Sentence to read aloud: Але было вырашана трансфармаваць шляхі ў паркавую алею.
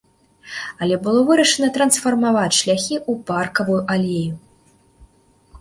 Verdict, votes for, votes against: accepted, 2, 0